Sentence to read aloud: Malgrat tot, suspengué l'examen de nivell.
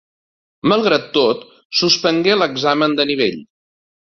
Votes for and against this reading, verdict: 2, 0, accepted